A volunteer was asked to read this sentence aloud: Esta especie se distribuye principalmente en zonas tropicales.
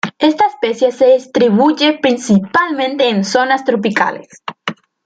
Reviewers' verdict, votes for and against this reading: accepted, 2, 0